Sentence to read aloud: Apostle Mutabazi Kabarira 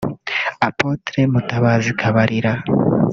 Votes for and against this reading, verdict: 3, 0, accepted